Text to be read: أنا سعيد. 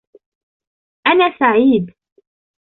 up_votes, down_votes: 1, 2